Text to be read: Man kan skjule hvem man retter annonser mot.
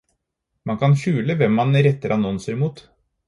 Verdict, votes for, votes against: accepted, 4, 0